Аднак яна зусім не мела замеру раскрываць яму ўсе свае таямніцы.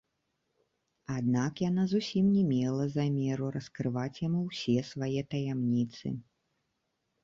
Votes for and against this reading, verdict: 2, 0, accepted